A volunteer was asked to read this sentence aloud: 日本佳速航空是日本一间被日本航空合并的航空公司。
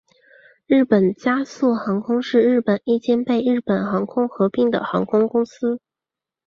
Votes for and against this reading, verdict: 2, 0, accepted